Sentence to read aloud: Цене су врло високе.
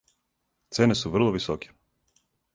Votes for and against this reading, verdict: 4, 0, accepted